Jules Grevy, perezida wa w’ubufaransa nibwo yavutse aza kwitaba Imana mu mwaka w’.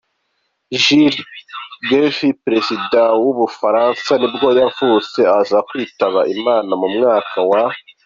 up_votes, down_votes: 2, 0